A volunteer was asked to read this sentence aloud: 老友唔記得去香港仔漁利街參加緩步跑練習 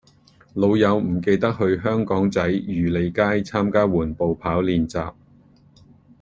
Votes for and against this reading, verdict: 2, 0, accepted